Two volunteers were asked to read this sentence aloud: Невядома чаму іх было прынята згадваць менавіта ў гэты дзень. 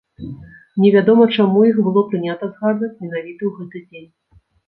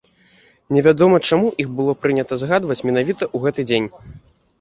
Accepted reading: first